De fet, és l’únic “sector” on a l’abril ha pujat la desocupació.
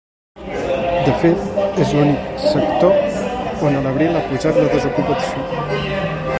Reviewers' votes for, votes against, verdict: 1, 2, rejected